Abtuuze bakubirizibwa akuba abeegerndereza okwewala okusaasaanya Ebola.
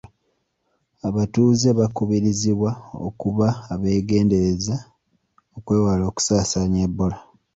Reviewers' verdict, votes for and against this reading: accepted, 3, 1